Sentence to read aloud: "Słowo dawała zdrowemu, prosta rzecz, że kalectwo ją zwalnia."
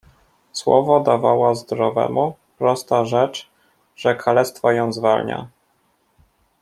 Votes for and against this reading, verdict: 2, 0, accepted